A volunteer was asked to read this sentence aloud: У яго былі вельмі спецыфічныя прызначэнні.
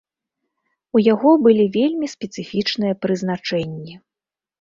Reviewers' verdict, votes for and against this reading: accepted, 2, 0